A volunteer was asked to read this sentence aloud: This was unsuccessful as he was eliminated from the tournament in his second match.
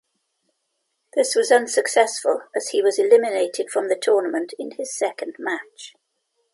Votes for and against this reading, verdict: 2, 0, accepted